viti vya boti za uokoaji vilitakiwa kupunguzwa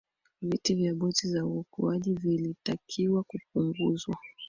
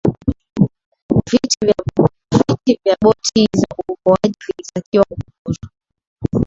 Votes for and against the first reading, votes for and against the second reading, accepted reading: 2, 1, 0, 2, first